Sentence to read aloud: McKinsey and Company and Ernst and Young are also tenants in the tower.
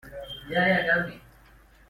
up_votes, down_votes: 0, 2